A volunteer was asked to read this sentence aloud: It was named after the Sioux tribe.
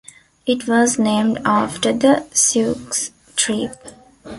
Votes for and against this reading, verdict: 0, 2, rejected